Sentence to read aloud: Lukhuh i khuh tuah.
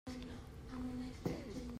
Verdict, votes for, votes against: rejected, 0, 2